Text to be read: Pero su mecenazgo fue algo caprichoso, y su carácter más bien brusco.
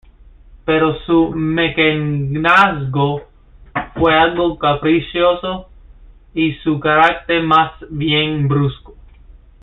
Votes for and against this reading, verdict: 2, 1, accepted